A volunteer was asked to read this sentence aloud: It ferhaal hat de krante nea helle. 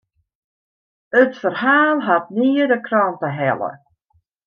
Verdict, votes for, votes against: rejected, 0, 2